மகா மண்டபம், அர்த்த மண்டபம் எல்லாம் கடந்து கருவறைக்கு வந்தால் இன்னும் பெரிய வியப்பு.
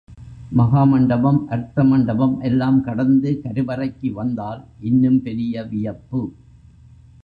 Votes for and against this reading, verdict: 2, 0, accepted